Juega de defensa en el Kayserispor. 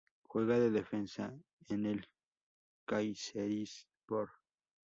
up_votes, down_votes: 2, 0